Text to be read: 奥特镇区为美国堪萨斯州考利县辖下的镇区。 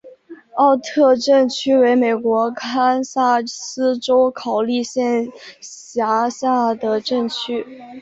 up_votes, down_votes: 2, 0